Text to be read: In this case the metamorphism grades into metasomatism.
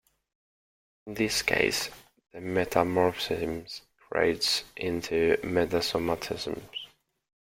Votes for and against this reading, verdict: 0, 2, rejected